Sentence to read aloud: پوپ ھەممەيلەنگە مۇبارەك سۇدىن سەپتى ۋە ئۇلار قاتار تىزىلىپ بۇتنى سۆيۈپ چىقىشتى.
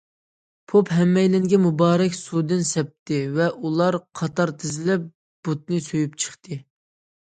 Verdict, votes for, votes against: rejected, 0, 2